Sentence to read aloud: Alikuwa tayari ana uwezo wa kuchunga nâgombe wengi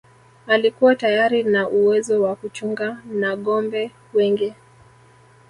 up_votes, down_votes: 2, 1